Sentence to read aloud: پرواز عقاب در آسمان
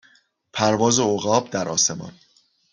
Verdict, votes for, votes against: accepted, 2, 0